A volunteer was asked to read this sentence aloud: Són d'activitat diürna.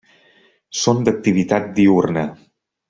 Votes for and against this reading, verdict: 3, 0, accepted